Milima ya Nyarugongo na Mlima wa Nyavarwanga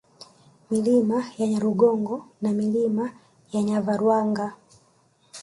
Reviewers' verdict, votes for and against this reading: rejected, 1, 2